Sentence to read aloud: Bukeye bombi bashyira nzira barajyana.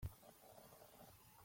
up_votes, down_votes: 0, 3